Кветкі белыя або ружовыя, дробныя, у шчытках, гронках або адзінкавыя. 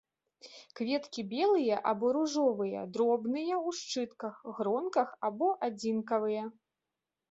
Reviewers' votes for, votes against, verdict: 1, 2, rejected